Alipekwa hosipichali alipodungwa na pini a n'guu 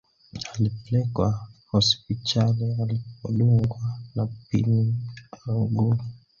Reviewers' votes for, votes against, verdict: 0, 2, rejected